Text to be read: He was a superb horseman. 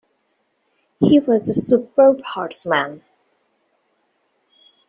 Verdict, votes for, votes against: rejected, 1, 2